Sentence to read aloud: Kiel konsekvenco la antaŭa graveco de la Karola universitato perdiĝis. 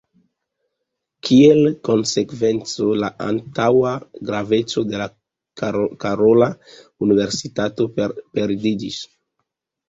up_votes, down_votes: 0, 2